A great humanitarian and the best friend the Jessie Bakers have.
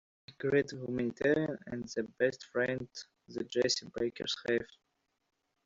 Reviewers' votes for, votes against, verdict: 1, 2, rejected